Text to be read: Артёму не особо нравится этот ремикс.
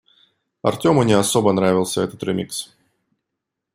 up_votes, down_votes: 0, 2